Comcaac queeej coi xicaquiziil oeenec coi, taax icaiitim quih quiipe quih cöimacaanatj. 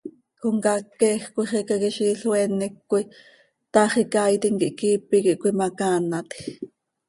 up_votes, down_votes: 2, 0